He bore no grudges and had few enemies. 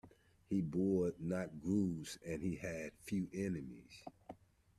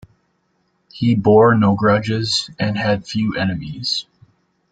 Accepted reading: second